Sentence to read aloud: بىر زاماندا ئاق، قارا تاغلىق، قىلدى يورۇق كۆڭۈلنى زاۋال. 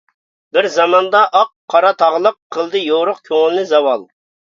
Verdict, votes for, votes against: accepted, 2, 0